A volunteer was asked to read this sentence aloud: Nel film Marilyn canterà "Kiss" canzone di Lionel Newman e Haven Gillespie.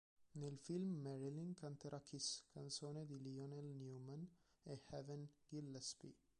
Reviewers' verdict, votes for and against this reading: rejected, 0, 2